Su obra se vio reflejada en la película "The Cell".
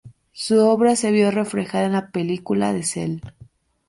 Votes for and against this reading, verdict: 2, 0, accepted